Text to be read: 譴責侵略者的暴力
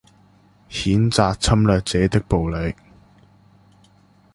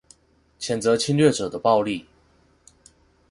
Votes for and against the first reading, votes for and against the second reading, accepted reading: 0, 2, 2, 0, second